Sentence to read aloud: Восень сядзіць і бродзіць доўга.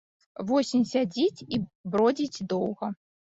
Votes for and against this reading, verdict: 0, 2, rejected